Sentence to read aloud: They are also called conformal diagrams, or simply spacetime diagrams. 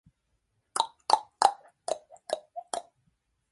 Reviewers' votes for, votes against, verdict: 0, 2, rejected